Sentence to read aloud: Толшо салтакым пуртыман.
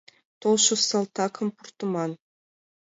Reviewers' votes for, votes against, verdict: 2, 0, accepted